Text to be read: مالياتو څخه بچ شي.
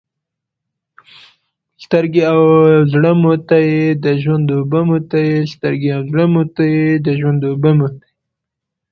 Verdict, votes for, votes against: rejected, 0, 2